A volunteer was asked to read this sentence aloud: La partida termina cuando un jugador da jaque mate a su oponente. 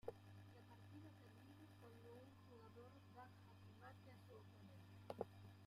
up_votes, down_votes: 0, 2